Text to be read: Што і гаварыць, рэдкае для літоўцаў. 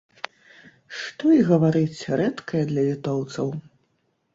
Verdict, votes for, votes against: accepted, 2, 0